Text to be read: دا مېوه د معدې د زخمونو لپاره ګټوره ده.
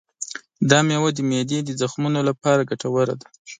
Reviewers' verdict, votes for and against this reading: accepted, 2, 0